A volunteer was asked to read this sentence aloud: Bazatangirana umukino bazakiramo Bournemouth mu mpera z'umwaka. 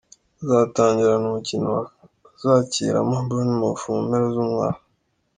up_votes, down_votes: 2, 0